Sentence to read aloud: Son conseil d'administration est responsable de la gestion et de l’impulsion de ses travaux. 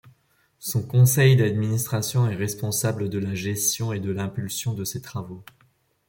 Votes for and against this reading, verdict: 2, 0, accepted